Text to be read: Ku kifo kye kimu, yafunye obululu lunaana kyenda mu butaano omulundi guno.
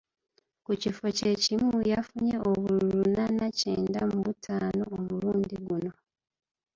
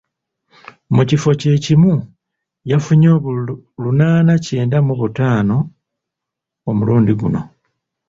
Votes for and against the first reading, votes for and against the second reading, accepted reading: 3, 2, 0, 2, first